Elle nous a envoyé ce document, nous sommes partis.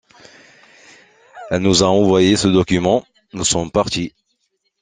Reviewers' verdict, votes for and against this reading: accepted, 2, 0